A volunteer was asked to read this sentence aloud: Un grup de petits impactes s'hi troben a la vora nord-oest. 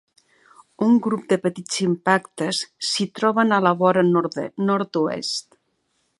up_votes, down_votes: 1, 2